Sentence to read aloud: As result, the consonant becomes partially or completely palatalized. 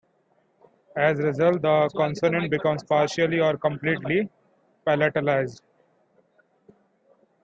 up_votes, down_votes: 2, 0